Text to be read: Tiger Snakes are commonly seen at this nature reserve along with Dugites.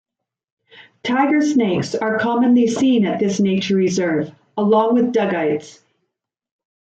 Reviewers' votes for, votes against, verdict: 2, 0, accepted